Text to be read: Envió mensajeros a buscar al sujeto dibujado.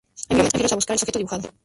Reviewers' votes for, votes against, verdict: 0, 2, rejected